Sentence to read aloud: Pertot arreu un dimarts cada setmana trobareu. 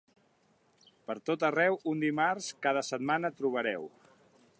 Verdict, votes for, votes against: accepted, 2, 0